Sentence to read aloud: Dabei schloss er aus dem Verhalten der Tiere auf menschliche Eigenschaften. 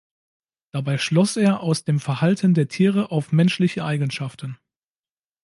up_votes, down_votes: 2, 0